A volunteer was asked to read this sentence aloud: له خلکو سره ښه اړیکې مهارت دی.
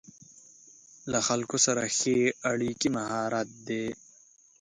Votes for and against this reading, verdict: 2, 0, accepted